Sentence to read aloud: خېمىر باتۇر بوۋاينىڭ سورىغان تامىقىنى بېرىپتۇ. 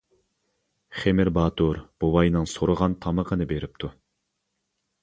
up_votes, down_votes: 2, 0